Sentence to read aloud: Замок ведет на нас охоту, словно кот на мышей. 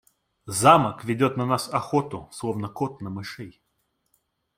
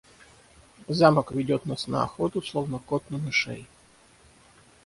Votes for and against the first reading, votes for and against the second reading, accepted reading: 2, 0, 3, 3, first